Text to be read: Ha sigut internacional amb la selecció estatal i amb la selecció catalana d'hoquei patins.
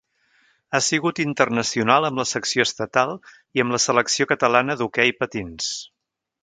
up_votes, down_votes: 1, 2